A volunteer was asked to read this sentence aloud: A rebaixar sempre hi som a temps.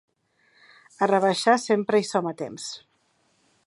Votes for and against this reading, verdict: 2, 0, accepted